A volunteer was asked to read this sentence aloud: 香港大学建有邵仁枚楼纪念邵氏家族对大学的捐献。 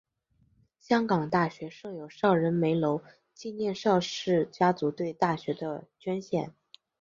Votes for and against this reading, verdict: 0, 2, rejected